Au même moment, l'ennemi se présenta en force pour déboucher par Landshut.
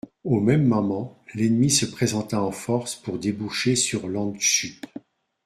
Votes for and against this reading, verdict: 1, 2, rejected